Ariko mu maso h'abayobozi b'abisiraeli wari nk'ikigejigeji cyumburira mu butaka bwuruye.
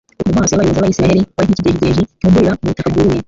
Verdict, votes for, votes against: rejected, 0, 2